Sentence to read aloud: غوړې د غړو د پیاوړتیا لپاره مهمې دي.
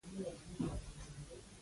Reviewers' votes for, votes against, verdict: 0, 2, rejected